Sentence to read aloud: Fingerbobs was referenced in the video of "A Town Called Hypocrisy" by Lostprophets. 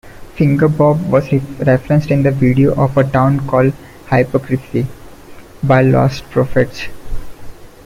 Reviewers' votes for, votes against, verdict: 1, 2, rejected